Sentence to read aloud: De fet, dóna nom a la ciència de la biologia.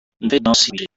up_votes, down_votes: 0, 2